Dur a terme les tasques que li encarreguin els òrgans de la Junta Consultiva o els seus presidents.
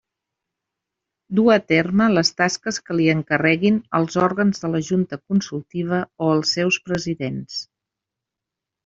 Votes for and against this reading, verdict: 2, 0, accepted